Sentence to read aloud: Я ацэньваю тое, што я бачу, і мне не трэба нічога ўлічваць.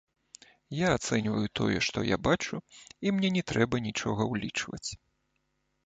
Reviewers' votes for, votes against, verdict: 1, 2, rejected